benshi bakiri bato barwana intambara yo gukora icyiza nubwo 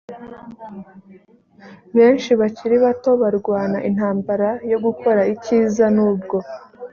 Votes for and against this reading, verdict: 2, 0, accepted